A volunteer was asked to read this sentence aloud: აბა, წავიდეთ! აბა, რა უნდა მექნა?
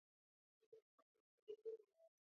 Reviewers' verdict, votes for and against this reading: rejected, 0, 2